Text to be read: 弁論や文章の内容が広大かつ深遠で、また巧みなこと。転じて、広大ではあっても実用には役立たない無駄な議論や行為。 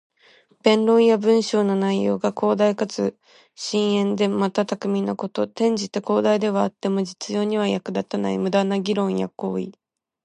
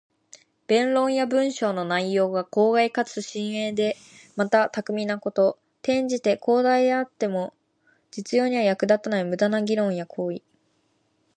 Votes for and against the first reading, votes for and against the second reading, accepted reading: 2, 1, 1, 2, first